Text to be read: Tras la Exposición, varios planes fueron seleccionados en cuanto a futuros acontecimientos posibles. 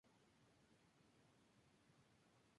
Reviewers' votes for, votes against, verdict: 0, 2, rejected